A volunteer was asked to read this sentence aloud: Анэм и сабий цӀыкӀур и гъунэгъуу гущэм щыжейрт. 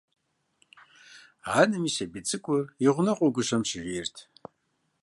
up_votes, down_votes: 2, 0